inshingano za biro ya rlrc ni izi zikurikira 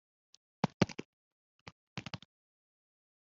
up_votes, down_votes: 1, 3